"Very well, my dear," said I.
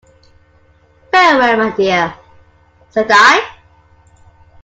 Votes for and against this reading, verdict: 2, 1, accepted